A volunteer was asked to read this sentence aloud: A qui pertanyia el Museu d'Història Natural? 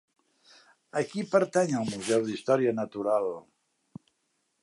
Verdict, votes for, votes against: rejected, 0, 2